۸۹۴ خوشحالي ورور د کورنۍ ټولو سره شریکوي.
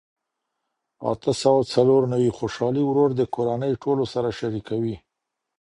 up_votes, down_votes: 0, 2